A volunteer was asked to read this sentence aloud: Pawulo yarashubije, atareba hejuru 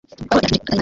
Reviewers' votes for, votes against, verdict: 1, 2, rejected